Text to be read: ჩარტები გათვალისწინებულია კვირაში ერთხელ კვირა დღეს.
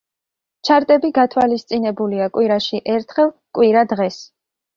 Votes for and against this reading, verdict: 2, 0, accepted